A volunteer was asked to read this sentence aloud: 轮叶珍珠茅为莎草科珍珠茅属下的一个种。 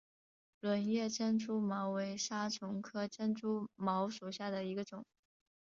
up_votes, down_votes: 5, 0